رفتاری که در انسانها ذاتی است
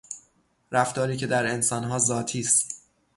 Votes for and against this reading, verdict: 0, 3, rejected